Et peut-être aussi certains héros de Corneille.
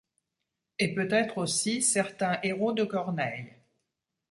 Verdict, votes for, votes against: accepted, 3, 1